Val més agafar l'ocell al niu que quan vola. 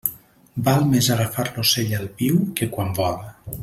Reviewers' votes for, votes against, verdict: 2, 0, accepted